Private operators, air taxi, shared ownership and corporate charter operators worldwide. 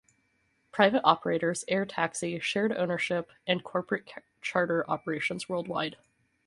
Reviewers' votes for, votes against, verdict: 2, 2, rejected